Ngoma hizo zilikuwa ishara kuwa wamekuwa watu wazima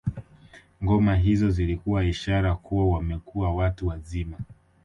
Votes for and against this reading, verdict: 2, 0, accepted